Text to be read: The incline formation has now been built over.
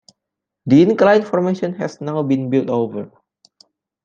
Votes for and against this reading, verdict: 2, 0, accepted